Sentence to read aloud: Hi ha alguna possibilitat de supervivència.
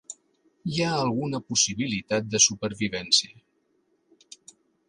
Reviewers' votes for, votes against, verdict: 3, 0, accepted